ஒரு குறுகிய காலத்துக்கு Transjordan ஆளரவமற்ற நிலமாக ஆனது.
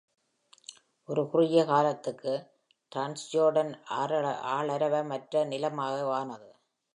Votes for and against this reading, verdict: 0, 2, rejected